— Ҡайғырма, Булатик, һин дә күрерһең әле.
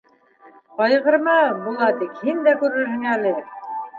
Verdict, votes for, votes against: rejected, 1, 2